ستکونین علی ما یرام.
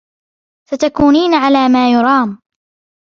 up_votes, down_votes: 1, 2